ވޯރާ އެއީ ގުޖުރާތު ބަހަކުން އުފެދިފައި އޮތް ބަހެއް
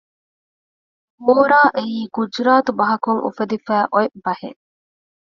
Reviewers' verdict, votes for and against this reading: rejected, 1, 2